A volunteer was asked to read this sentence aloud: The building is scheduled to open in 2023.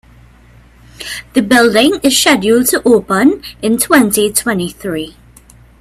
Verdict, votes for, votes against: rejected, 0, 2